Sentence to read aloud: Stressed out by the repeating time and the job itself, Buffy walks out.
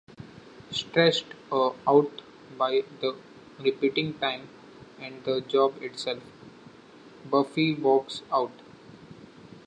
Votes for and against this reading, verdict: 0, 2, rejected